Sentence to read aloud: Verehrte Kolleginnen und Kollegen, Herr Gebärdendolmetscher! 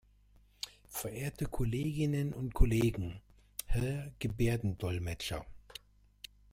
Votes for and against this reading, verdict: 2, 0, accepted